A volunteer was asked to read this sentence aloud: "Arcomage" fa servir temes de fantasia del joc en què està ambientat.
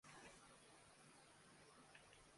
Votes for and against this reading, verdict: 0, 2, rejected